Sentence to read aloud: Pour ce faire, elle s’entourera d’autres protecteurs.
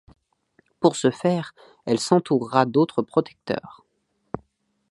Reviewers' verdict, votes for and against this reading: accepted, 2, 0